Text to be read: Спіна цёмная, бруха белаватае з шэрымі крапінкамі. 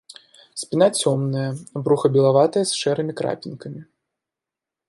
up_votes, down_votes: 2, 0